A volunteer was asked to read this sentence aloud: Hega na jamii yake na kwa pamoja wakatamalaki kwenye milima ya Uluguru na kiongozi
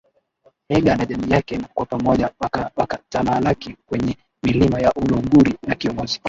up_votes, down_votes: 0, 2